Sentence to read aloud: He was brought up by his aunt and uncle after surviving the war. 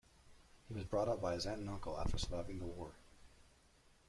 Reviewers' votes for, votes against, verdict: 1, 2, rejected